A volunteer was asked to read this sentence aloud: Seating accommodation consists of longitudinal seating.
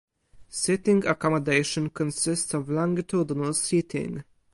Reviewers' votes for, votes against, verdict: 2, 2, rejected